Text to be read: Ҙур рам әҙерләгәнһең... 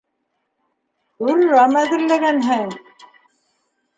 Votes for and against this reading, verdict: 0, 2, rejected